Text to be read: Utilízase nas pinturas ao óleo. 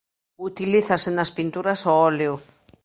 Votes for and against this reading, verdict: 2, 0, accepted